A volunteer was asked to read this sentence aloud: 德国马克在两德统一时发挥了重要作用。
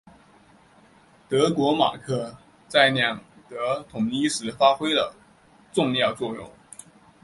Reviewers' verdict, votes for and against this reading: accepted, 2, 0